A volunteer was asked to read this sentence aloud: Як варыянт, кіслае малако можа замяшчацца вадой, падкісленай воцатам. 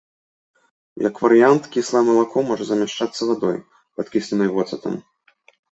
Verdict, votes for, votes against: accepted, 2, 0